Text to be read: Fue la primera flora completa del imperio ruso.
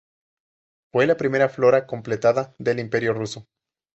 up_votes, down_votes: 0, 2